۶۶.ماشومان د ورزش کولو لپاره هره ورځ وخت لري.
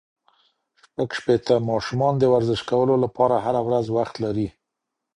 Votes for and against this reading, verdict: 0, 2, rejected